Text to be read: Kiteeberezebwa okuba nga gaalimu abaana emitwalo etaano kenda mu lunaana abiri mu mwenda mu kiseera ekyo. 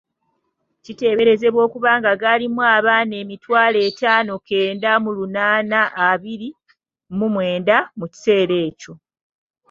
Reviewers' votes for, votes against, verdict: 2, 0, accepted